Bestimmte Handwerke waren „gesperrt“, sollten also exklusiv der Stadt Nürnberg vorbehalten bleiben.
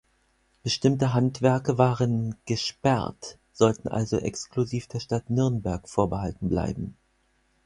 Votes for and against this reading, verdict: 4, 0, accepted